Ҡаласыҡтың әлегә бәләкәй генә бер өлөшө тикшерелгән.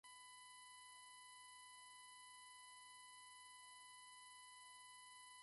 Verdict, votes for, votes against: rejected, 0, 2